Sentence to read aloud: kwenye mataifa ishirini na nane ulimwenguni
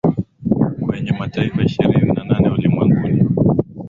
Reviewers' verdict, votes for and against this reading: accepted, 2, 0